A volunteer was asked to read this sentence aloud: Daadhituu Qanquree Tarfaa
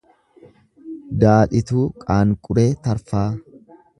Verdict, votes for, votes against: rejected, 0, 2